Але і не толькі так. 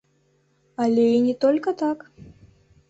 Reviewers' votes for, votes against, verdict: 1, 2, rejected